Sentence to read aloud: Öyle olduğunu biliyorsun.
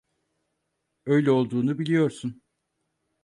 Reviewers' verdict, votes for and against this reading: accepted, 4, 0